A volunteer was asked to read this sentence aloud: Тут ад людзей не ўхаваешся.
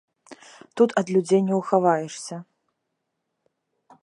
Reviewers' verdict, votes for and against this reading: accepted, 2, 0